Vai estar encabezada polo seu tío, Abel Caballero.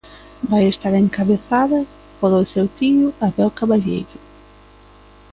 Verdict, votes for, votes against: rejected, 0, 2